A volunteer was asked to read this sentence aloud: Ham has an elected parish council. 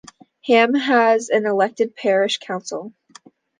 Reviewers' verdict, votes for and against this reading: accepted, 3, 0